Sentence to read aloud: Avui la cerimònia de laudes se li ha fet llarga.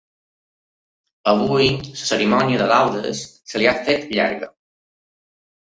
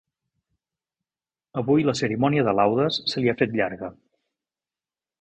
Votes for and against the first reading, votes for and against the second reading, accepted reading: 1, 2, 3, 0, second